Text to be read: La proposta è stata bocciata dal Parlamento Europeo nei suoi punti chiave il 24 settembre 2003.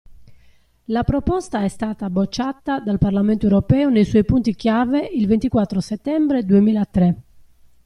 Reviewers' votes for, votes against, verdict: 0, 2, rejected